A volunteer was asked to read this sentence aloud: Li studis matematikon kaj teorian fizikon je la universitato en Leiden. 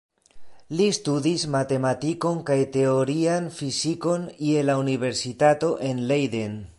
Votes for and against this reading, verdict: 2, 0, accepted